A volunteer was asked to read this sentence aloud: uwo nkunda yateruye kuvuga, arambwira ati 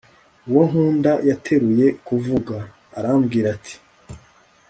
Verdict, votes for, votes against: rejected, 0, 2